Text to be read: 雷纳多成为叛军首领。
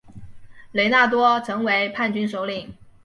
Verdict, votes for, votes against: accepted, 2, 0